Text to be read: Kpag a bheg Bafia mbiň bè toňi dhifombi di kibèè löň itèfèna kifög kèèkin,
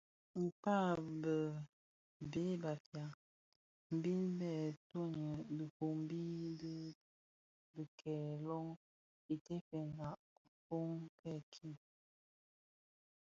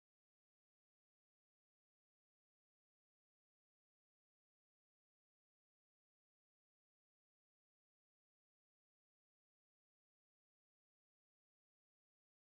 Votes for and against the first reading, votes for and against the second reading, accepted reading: 2, 0, 2, 3, first